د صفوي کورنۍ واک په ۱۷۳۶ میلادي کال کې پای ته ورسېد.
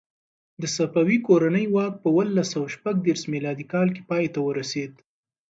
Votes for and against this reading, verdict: 0, 2, rejected